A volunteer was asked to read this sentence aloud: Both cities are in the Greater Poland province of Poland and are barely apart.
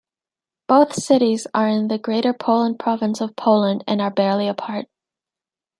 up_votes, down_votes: 2, 1